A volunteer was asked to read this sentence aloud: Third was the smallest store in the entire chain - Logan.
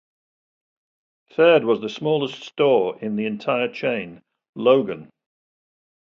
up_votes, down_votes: 2, 0